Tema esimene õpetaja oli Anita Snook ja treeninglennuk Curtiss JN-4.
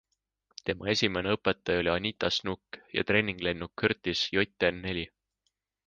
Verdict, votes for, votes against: rejected, 0, 2